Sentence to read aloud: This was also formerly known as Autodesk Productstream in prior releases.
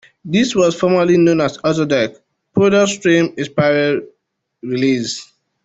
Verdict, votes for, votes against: rejected, 0, 2